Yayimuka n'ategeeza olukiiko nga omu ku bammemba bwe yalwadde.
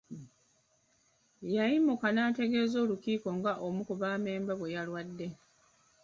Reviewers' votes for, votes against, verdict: 1, 2, rejected